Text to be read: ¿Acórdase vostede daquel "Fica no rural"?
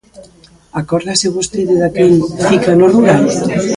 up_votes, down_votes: 1, 2